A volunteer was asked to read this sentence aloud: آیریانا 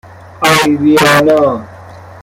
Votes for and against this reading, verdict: 0, 2, rejected